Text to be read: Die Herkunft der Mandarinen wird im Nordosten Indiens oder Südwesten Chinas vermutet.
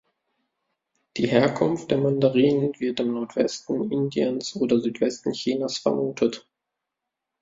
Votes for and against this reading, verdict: 1, 2, rejected